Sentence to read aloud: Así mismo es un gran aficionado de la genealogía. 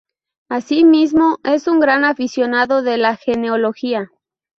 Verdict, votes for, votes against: rejected, 0, 2